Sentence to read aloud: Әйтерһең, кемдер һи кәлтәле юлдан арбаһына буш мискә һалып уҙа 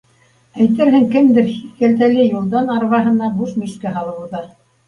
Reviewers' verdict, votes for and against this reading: rejected, 0, 2